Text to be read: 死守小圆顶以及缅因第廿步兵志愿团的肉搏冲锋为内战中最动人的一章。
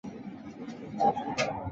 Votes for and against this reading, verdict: 0, 2, rejected